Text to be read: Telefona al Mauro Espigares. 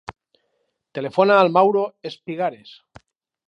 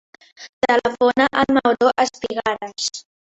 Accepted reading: first